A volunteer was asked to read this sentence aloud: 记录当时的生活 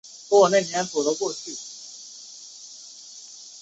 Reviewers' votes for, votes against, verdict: 1, 2, rejected